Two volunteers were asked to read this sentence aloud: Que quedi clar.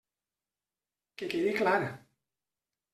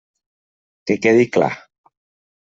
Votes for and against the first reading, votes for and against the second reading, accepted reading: 1, 2, 3, 0, second